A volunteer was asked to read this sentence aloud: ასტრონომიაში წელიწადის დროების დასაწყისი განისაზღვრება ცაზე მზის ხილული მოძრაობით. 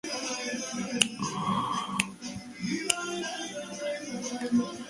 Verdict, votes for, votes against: rejected, 1, 2